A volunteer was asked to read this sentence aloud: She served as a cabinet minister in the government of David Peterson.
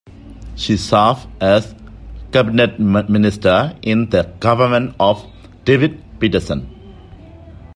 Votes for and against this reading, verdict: 0, 2, rejected